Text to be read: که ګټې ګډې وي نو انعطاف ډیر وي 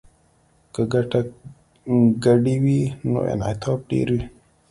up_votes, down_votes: 2, 0